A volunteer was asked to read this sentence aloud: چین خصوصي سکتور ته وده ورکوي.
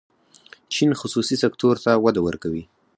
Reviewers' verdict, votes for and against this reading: rejected, 2, 4